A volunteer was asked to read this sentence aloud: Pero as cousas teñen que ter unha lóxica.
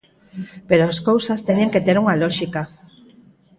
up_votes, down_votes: 4, 0